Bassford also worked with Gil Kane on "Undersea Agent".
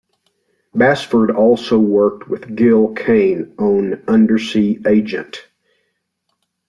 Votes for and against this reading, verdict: 2, 0, accepted